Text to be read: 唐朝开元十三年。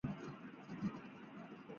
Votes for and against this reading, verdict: 1, 2, rejected